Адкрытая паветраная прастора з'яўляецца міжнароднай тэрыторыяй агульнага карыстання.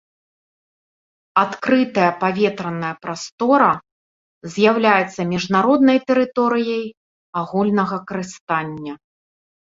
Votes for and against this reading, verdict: 2, 0, accepted